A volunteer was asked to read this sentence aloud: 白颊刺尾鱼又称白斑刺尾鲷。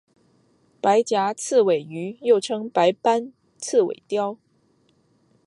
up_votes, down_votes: 5, 0